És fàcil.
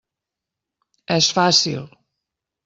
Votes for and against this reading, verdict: 3, 0, accepted